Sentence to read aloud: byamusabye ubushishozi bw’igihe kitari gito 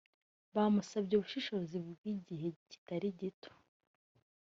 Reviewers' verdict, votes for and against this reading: rejected, 0, 2